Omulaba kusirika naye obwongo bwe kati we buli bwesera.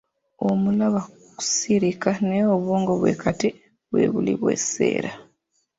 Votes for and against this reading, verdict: 1, 2, rejected